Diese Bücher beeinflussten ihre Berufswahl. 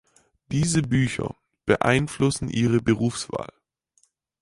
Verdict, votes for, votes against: rejected, 2, 4